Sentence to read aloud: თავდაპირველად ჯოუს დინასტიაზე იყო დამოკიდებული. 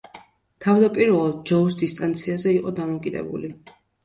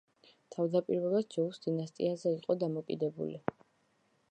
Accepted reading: second